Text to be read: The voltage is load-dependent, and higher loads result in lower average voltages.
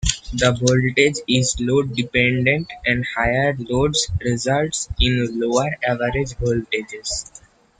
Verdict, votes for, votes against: rejected, 0, 2